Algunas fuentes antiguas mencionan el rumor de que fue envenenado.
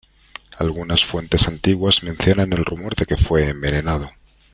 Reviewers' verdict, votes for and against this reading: rejected, 1, 2